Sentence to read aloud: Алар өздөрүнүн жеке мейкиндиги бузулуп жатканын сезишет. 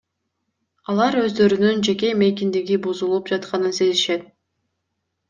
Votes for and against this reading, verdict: 2, 0, accepted